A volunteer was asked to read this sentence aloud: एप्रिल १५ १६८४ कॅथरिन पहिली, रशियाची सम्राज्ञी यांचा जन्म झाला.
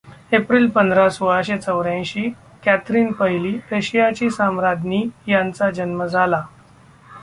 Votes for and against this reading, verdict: 0, 2, rejected